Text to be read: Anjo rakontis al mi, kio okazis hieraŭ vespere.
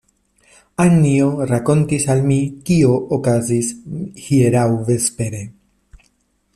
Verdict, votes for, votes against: accepted, 2, 0